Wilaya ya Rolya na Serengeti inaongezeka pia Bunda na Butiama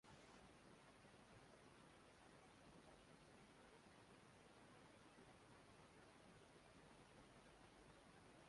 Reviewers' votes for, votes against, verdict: 0, 2, rejected